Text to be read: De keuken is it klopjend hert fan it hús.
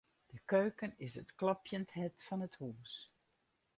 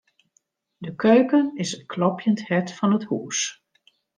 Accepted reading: second